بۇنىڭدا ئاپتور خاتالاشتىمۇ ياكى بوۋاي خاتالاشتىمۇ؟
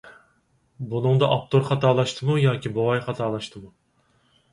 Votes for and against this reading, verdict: 4, 0, accepted